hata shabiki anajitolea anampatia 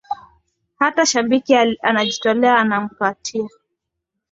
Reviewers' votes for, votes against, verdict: 2, 0, accepted